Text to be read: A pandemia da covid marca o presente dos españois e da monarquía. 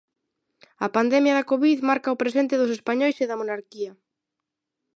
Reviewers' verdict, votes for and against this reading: accepted, 2, 1